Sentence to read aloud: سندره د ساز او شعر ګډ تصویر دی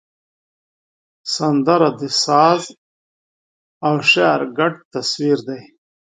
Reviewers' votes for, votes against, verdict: 2, 0, accepted